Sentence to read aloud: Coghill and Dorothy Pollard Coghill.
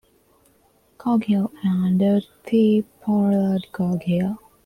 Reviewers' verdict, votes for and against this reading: accepted, 2, 1